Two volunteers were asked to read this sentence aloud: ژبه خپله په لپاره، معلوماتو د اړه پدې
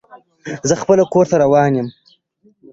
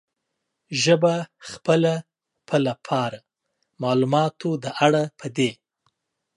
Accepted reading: second